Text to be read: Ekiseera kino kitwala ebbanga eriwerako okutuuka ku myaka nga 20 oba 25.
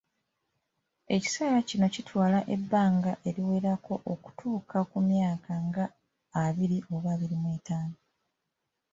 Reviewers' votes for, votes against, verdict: 0, 2, rejected